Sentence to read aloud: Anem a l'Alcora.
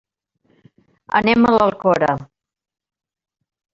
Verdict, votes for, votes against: accepted, 3, 1